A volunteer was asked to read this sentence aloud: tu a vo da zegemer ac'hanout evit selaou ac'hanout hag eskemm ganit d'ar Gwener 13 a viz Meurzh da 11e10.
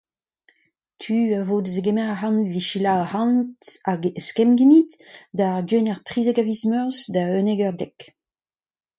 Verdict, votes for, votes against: rejected, 0, 2